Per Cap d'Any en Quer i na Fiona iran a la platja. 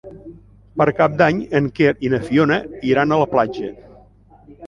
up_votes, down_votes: 3, 0